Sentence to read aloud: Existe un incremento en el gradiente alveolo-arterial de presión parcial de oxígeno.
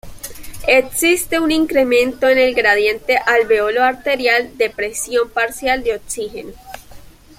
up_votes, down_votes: 2, 0